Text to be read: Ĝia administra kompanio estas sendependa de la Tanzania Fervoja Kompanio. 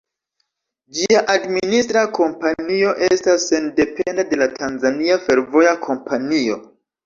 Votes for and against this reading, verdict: 1, 2, rejected